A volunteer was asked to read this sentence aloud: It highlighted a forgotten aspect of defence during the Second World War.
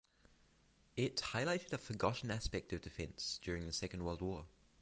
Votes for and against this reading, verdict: 6, 0, accepted